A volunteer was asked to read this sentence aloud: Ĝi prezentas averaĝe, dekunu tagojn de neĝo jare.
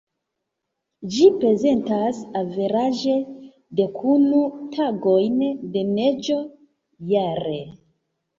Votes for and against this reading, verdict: 2, 0, accepted